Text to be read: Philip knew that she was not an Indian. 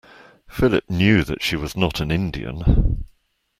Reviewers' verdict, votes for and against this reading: accepted, 2, 0